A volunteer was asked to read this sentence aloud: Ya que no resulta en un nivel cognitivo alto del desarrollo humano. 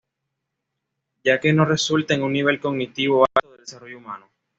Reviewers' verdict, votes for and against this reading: accepted, 2, 1